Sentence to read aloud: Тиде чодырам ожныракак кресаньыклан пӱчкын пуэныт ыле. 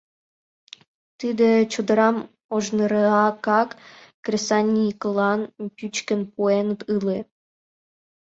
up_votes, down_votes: 2, 1